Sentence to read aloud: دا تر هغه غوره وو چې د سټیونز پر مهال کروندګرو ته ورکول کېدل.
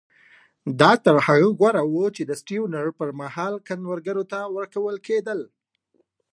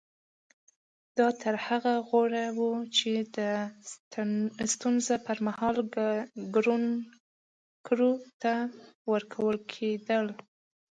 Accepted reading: first